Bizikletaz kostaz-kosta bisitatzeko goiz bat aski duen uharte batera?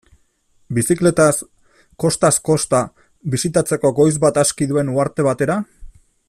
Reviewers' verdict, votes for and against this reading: accepted, 2, 0